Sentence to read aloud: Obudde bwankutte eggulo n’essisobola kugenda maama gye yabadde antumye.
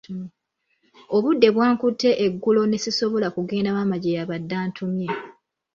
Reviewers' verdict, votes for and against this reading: rejected, 0, 2